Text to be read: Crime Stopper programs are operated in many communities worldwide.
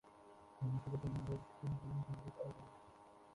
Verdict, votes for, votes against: rejected, 0, 2